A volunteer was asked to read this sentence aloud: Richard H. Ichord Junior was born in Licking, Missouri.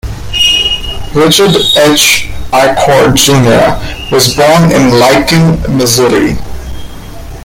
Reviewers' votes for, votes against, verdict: 1, 2, rejected